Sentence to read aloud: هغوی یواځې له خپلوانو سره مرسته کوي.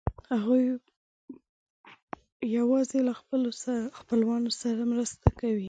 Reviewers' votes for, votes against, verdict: 1, 2, rejected